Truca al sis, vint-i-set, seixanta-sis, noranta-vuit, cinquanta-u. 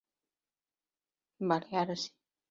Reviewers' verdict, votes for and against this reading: rejected, 0, 2